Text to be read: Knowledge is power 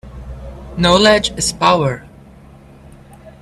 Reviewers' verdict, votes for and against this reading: accepted, 2, 0